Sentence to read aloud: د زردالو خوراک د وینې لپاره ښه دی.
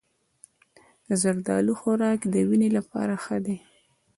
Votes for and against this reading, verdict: 2, 1, accepted